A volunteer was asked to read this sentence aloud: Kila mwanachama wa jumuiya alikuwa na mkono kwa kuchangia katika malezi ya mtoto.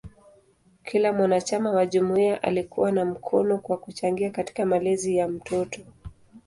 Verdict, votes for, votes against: accepted, 2, 0